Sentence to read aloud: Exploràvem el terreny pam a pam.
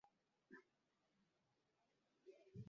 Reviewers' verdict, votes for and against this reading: rejected, 0, 2